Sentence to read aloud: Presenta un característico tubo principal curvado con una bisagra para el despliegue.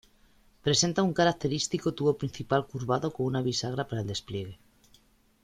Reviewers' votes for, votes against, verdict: 2, 0, accepted